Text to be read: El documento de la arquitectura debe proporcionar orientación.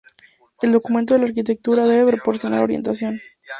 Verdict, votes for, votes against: accepted, 2, 0